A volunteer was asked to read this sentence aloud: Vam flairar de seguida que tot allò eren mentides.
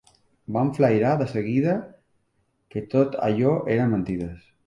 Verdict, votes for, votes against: accepted, 2, 0